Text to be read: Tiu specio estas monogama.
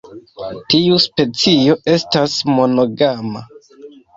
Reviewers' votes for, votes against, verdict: 2, 1, accepted